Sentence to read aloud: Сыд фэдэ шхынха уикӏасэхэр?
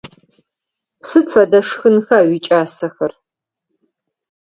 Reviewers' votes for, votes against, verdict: 4, 0, accepted